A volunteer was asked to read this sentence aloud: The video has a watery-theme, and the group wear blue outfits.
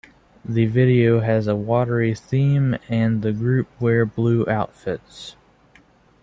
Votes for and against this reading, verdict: 2, 1, accepted